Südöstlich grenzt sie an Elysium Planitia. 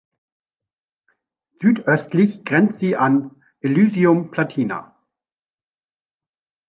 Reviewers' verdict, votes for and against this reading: rejected, 1, 2